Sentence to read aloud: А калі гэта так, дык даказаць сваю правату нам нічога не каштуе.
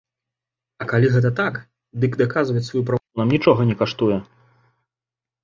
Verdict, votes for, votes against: rejected, 1, 2